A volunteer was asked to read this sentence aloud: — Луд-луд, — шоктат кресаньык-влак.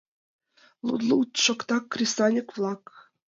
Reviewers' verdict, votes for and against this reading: rejected, 0, 2